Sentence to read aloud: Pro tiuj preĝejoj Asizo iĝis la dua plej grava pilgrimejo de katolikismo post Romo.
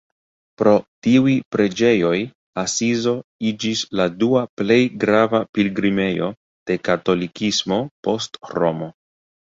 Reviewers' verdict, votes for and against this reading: rejected, 0, 2